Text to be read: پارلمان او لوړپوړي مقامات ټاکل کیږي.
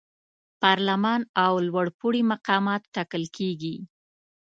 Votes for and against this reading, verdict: 2, 0, accepted